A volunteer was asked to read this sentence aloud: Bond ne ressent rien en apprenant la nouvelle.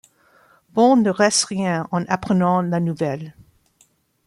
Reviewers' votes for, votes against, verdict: 0, 2, rejected